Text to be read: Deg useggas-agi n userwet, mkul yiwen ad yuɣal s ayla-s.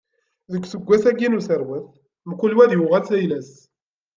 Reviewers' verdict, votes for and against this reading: rejected, 1, 2